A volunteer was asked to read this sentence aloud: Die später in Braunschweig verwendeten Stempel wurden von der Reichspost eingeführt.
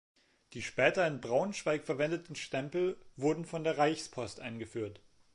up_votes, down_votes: 3, 0